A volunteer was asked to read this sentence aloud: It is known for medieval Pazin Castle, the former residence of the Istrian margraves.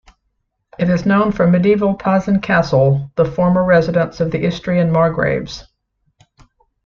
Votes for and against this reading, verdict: 2, 0, accepted